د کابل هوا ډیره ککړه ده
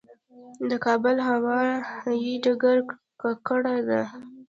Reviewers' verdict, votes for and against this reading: rejected, 0, 2